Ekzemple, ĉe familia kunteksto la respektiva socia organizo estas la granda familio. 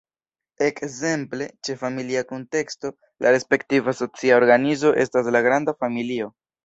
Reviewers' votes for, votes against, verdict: 2, 1, accepted